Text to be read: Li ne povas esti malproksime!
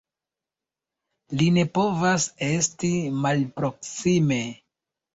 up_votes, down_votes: 2, 0